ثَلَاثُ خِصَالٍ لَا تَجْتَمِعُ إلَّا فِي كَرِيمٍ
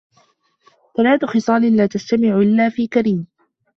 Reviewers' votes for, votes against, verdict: 2, 0, accepted